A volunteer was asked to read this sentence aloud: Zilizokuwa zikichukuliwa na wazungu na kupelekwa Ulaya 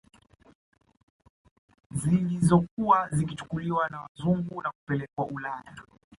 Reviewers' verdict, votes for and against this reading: rejected, 1, 2